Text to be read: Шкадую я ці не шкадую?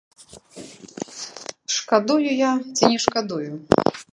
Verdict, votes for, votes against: rejected, 0, 3